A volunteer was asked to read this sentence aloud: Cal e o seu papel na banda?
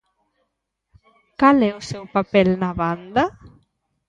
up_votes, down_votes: 1, 2